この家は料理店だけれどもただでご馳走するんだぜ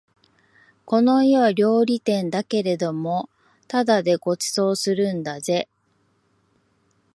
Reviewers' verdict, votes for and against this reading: accepted, 5, 0